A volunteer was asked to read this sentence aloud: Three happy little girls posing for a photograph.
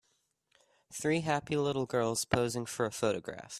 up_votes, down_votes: 2, 0